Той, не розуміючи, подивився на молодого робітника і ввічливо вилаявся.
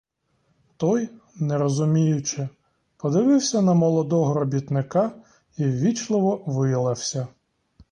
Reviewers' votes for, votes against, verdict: 1, 2, rejected